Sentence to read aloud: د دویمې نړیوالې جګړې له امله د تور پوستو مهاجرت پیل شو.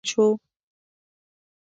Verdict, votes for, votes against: rejected, 0, 2